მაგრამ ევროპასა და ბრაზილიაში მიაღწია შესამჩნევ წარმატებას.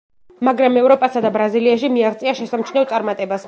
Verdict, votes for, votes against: accepted, 2, 0